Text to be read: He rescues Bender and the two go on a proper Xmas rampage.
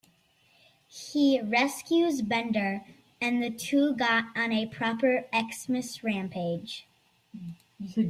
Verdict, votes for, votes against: rejected, 1, 2